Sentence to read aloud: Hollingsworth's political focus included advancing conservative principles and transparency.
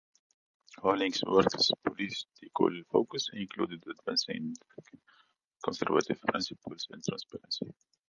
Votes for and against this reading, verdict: 0, 2, rejected